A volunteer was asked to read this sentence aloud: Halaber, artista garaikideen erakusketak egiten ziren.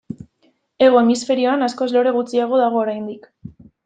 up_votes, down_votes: 0, 2